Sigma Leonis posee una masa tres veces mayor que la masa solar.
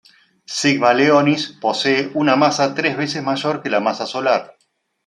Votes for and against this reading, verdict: 2, 1, accepted